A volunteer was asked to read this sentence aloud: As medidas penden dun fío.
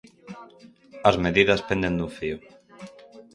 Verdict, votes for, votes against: rejected, 2, 4